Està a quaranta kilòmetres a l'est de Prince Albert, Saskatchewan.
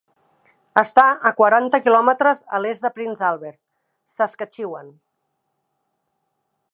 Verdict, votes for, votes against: accepted, 3, 0